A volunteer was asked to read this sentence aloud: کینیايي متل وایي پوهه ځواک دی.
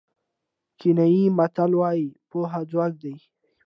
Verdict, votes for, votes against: accepted, 2, 0